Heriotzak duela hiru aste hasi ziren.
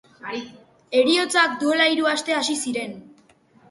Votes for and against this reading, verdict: 1, 2, rejected